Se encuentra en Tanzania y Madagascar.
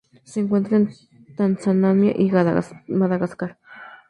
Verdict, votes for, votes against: rejected, 0, 2